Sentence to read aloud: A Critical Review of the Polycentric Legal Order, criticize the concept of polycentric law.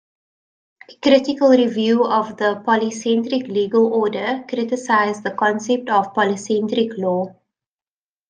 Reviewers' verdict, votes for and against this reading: rejected, 0, 2